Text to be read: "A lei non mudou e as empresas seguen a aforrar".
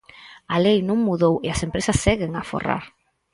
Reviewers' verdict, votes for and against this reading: accepted, 4, 0